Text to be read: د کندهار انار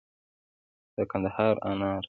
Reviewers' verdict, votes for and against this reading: accepted, 2, 1